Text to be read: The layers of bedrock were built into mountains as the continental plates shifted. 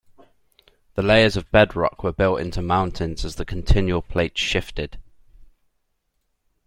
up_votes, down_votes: 0, 2